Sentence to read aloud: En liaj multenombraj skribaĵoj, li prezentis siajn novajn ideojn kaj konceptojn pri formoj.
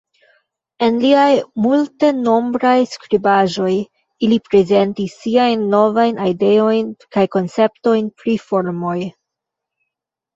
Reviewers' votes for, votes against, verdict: 0, 2, rejected